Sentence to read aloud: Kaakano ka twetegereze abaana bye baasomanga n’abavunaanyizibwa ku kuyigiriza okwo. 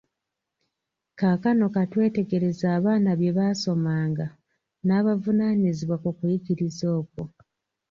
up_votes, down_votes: 2, 0